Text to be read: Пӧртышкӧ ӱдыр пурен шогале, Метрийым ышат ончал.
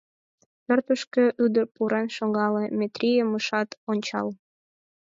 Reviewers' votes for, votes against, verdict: 4, 2, accepted